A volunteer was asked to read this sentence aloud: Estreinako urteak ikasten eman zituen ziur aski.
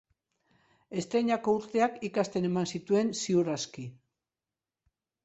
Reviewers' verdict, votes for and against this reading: accepted, 4, 0